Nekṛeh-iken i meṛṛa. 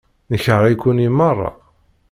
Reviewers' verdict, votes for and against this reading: accepted, 2, 0